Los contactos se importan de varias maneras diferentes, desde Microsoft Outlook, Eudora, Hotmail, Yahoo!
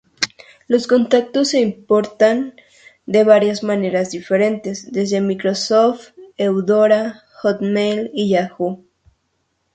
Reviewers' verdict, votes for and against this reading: rejected, 0, 2